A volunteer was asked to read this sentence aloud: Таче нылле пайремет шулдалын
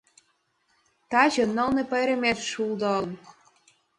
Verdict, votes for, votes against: rejected, 1, 4